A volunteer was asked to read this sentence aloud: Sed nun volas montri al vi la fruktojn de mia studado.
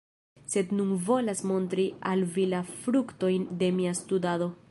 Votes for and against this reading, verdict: 2, 0, accepted